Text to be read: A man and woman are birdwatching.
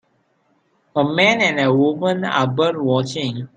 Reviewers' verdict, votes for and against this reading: accepted, 2, 1